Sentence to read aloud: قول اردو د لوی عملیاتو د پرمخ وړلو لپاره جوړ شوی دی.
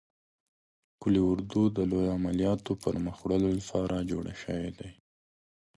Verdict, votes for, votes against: accepted, 2, 0